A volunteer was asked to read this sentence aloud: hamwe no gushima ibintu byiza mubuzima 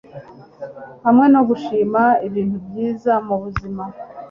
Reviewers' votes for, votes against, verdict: 2, 0, accepted